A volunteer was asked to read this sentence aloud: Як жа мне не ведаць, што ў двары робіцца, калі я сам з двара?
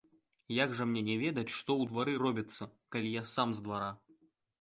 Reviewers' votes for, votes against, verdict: 2, 0, accepted